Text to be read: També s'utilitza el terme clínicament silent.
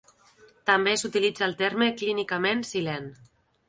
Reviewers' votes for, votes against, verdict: 2, 0, accepted